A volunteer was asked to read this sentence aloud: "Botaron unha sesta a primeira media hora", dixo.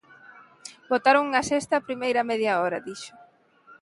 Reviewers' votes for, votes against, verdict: 2, 0, accepted